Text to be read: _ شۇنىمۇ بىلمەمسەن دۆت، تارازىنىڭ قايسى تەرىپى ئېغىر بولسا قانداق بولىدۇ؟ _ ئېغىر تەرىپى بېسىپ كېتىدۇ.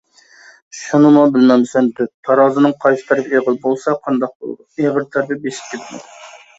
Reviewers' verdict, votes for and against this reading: rejected, 1, 2